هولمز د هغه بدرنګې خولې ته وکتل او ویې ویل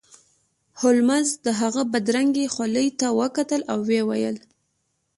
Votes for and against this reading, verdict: 2, 0, accepted